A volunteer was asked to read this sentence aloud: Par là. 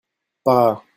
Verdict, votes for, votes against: rejected, 1, 2